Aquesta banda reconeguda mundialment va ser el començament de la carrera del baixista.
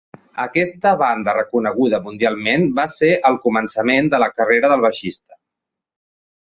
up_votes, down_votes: 4, 0